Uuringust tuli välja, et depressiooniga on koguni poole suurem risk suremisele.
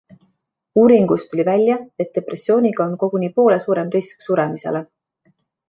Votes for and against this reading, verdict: 2, 1, accepted